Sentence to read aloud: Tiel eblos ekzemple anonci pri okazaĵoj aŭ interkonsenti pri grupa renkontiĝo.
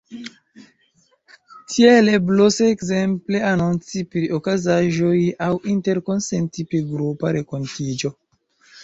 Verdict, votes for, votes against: accepted, 2, 0